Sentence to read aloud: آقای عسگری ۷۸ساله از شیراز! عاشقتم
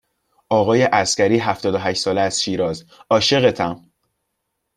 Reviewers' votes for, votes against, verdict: 0, 2, rejected